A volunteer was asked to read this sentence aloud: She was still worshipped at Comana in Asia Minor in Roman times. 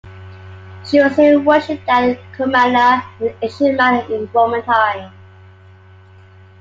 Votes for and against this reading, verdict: 2, 1, accepted